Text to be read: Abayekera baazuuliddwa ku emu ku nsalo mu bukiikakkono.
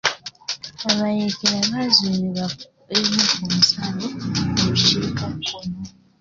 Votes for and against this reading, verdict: 0, 2, rejected